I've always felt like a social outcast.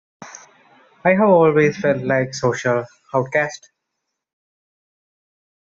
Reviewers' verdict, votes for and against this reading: rejected, 1, 2